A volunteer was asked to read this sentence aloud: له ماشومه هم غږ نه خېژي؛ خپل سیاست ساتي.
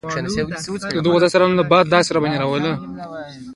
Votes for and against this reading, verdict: 1, 2, rejected